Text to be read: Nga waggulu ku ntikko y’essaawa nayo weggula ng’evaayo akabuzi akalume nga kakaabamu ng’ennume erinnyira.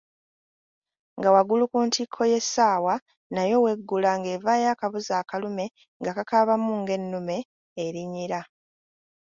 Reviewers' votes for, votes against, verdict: 2, 0, accepted